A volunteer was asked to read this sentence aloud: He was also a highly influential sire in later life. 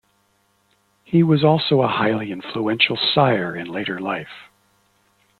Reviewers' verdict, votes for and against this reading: accepted, 2, 0